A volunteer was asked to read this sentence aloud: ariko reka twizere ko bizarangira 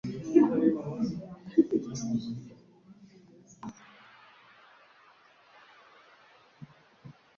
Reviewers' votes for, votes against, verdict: 1, 2, rejected